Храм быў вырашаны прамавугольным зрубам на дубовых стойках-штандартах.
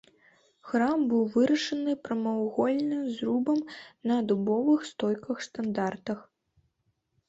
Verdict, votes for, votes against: rejected, 0, 2